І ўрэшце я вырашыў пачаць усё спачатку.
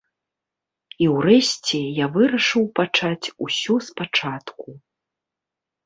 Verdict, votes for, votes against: accepted, 2, 0